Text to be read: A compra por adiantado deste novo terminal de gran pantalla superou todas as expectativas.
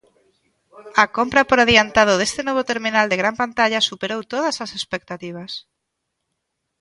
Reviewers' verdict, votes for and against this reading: accepted, 2, 0